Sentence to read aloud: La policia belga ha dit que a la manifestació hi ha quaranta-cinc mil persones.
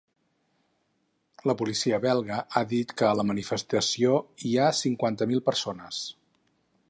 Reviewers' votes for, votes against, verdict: 4, 6, rejected